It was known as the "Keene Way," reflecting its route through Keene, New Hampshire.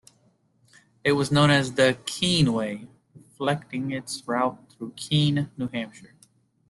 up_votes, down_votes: 2, 0